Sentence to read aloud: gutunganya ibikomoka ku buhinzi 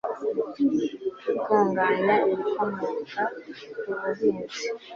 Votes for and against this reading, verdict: 2, 0, accepted